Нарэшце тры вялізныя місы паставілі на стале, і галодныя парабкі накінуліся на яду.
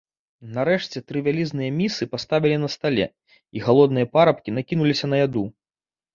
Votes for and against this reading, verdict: 3, 0, accepted